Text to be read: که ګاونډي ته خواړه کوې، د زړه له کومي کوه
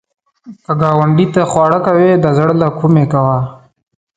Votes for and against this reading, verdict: 2, 0, accepted